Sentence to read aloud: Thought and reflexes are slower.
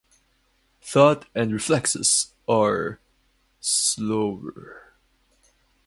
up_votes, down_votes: 0, 2